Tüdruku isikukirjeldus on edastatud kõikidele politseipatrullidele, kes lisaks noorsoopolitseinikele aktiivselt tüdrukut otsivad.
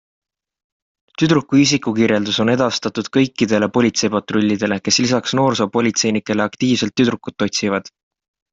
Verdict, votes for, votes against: accepted, 2, 0